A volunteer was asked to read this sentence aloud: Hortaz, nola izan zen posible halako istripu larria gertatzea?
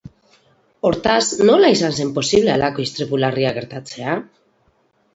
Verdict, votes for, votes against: accepted, 4, 0